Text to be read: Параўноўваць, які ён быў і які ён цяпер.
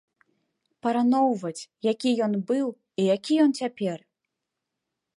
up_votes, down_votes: 1, 2